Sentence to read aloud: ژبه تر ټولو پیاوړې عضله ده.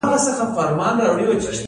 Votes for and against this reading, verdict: 1, 2, rejected